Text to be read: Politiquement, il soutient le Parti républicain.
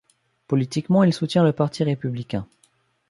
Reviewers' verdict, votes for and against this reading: accepted, 2, 0